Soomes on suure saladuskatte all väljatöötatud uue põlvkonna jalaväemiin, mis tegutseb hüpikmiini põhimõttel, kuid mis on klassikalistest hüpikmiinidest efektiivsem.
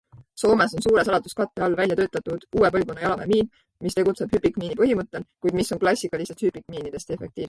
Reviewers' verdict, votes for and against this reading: rejected, 0, 2